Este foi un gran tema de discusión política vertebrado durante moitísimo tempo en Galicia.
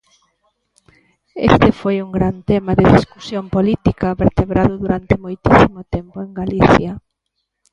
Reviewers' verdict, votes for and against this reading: accepted, 2, 0